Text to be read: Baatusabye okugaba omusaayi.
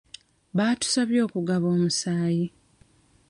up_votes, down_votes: 2, 0